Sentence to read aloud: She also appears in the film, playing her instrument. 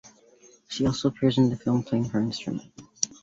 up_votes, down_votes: 2, 1